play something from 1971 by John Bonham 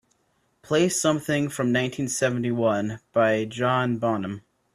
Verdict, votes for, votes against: rejected, 0, 2